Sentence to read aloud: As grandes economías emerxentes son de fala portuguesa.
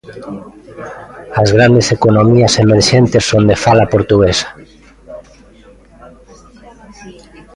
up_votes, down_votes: 1, 2